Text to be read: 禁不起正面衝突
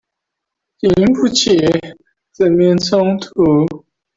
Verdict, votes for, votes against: rejected, 1, 2